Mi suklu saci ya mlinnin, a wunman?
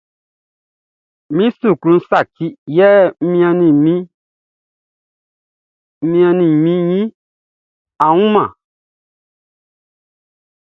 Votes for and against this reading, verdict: 0, 2, rejected